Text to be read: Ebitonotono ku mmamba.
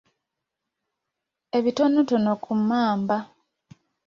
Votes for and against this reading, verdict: 2, 0, accepted